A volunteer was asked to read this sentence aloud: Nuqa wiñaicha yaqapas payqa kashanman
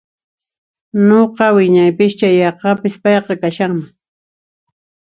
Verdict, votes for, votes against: rejected, 0, 2